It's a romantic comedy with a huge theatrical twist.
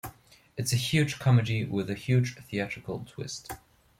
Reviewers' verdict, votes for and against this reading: rejected, 0, 2